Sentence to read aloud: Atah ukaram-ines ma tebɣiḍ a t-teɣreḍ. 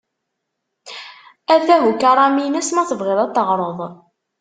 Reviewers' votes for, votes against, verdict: 2, 1, accepted